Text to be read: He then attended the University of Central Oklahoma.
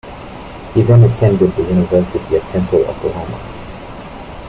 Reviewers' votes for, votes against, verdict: 1, 2, rejected